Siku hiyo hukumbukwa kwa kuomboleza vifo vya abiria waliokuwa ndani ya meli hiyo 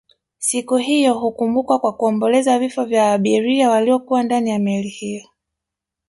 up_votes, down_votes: 2, 0